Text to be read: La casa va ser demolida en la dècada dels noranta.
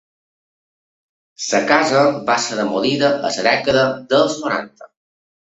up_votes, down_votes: 1, 2